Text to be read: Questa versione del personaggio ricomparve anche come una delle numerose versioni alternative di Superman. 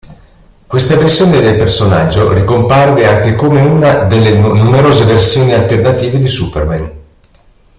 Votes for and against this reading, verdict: 0, 2, rejected